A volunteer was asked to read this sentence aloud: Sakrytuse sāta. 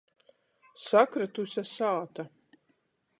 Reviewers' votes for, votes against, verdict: 14, 0, accepted